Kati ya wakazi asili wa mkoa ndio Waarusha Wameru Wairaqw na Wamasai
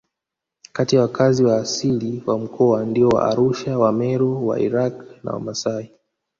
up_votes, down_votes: 1, 2